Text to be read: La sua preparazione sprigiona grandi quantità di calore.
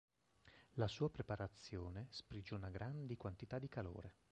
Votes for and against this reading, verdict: 1, 2, rejected